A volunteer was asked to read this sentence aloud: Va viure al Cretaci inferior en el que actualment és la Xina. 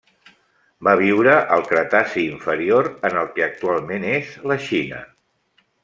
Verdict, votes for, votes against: accepted, 3, 0